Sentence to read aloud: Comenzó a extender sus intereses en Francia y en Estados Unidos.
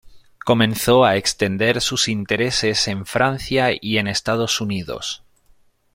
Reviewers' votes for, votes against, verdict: 2, 0, accepted